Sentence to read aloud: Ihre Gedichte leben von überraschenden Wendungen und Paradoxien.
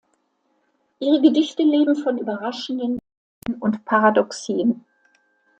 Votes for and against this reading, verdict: 0, 2, rejected